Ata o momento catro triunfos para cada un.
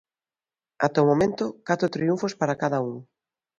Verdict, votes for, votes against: accepted, 2, 0